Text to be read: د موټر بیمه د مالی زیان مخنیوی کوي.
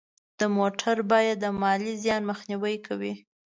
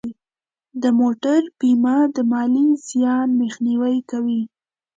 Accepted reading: second